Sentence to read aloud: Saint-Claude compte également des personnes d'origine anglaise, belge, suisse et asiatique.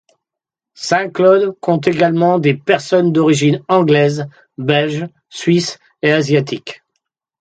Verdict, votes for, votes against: accepted, 2, 0